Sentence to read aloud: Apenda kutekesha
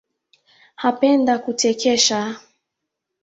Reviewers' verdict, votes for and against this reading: accepted, 2, 0